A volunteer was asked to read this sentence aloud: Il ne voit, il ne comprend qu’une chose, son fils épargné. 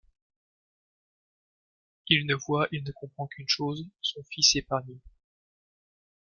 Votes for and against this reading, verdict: 1, 2, rejected